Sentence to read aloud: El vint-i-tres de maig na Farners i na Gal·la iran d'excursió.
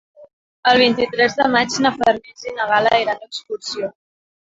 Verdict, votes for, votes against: rejected, 2, 3